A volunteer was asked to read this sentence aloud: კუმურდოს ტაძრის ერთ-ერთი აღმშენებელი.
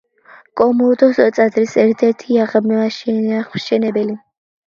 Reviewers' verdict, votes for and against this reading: accepted, 2, 1